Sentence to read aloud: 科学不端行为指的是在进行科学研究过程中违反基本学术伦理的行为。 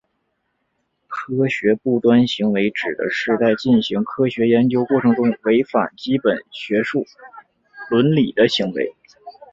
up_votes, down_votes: 2, 1